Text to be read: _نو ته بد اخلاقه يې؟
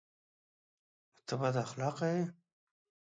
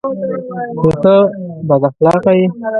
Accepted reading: first